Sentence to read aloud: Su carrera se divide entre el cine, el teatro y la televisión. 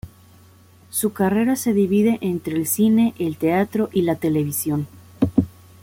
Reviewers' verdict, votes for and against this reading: accepted, 2, 0